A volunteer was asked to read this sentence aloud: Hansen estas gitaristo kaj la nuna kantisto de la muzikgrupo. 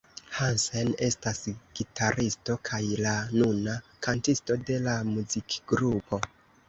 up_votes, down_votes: 2, 0